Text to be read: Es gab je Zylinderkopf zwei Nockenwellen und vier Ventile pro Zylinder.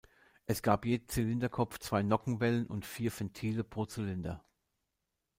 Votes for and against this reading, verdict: 1, 2, rejected